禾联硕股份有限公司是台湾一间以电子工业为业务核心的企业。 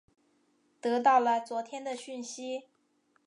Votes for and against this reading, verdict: 1, 4, rejected